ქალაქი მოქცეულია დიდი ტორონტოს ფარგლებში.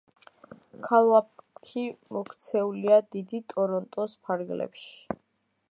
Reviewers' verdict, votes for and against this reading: rejected, 1, 2